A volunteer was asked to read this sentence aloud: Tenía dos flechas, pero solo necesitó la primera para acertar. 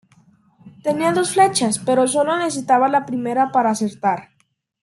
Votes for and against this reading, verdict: 1, 2, rejected